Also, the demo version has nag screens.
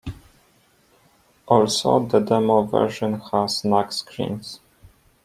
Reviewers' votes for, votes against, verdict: 2, 0, accepted